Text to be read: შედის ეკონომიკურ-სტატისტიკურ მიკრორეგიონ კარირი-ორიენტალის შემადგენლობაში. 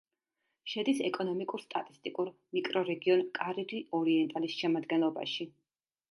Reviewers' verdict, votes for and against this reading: accepted, 2, 0